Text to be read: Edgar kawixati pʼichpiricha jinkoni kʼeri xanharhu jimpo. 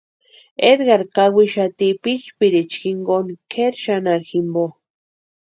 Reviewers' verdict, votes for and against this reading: accepted, 2, 0